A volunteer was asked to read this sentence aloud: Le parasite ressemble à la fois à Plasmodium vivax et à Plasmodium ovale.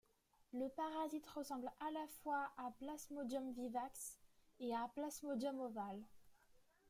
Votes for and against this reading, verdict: 2, 0, accepted